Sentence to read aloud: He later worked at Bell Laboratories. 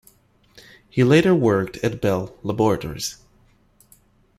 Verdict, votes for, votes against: accepted, 2, 0